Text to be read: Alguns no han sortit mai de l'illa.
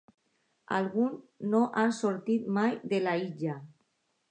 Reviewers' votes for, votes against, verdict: 1, 2, rejected